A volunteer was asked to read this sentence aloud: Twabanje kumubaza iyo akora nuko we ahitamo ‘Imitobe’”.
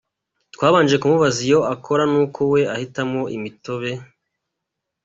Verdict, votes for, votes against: accepted, 2, 0